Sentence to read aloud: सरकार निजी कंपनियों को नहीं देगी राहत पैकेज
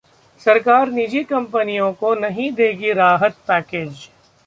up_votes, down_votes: 2, 0